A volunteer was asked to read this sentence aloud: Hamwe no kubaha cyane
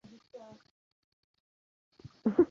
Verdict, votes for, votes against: rejected, 0, 2